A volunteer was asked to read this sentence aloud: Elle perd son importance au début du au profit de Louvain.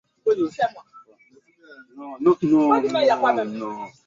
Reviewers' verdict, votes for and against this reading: rejected, 0, 2